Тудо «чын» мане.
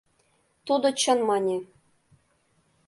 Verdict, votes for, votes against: accepted, 2, 0